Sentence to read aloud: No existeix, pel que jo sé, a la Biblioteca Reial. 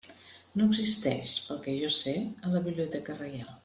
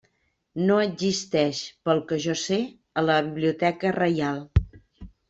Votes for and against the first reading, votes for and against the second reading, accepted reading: 2, 0, 1, 2, first